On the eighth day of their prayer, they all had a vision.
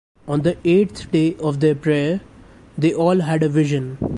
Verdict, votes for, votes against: rejected, 1, 2